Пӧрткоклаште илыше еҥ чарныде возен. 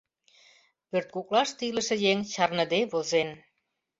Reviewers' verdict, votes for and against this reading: accepted, 2, 0